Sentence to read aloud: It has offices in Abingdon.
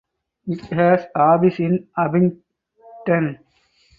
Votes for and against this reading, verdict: 0, 4, rejected